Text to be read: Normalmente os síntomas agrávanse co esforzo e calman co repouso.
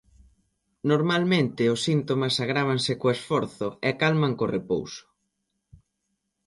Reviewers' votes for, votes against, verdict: 2, 0, accepted